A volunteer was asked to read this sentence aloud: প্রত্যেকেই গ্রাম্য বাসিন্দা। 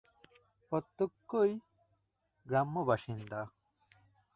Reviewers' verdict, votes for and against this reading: rejected, 0, 2